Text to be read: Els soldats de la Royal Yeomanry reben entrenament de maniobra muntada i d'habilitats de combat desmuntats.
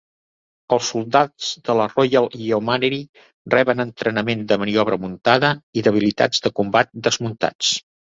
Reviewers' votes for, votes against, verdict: 1, 2, rejected